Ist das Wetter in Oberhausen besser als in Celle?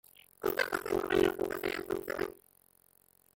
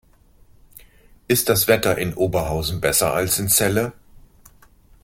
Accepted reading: second